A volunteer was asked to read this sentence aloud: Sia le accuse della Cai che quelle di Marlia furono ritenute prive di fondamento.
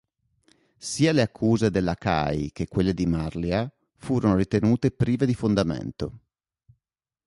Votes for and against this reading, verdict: 2, 0, accepted